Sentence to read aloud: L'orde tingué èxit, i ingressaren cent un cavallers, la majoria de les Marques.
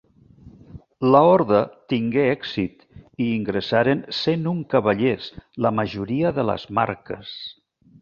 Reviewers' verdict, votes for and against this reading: rejected, 1, 2